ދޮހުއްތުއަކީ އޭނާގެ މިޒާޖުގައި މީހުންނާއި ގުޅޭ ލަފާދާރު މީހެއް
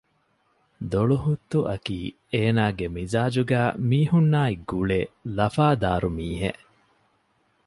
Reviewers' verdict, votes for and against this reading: rejected, 1, 2